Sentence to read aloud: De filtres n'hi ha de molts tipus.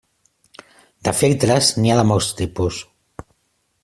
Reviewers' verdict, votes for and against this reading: accepted, 2, 0